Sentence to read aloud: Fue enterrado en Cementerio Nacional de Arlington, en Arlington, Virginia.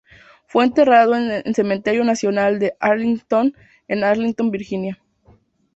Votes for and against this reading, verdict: 0, 2, rejected